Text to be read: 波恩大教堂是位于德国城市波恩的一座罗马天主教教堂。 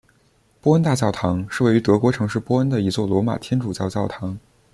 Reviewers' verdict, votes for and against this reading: accepted, 2, 0